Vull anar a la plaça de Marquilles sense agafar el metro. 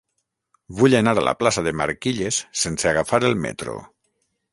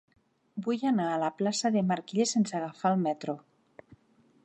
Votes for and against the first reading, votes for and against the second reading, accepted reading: 0, 3, 2, 0, second